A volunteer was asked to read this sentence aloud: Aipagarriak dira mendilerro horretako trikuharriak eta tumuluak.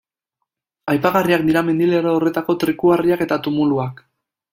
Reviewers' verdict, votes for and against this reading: accepted, 2, 0